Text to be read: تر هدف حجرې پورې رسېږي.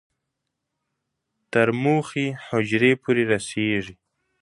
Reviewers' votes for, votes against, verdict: 4, 3, accepted